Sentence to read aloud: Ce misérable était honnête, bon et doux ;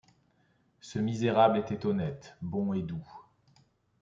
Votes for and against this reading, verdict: 2, 0, accepted